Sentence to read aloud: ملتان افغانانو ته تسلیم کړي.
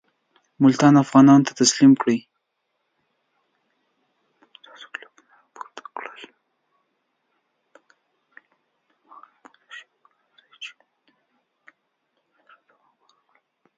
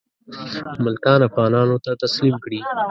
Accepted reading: second